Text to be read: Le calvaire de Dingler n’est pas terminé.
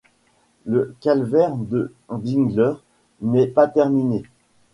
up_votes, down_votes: 2, 0